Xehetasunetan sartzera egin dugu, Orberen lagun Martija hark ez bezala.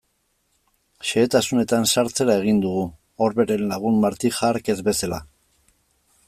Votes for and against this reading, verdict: 2, 0, accepted